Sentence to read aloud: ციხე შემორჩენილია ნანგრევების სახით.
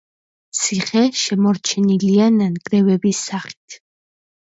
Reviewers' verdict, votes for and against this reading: accepted, 2, 0